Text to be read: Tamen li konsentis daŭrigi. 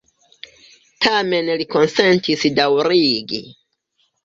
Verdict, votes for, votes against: accepted, 2, 1